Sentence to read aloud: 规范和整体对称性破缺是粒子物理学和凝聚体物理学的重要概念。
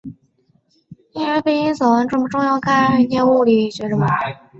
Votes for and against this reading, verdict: 1, 2, rejected